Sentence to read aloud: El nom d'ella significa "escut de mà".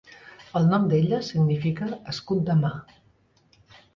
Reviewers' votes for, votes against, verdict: 3, 0, accepted